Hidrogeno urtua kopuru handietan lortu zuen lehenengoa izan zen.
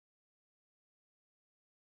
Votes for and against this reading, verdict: 0, 2, rejected